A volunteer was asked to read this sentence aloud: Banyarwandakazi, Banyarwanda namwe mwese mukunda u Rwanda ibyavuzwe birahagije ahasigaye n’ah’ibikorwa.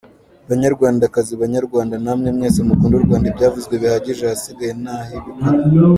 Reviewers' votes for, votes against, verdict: 2, 1, accepted